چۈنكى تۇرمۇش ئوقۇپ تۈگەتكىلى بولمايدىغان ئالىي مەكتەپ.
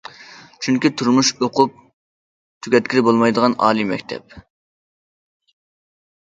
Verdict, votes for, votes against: accepted, 2, 0